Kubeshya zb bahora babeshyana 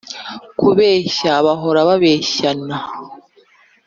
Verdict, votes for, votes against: rejected, 0, 2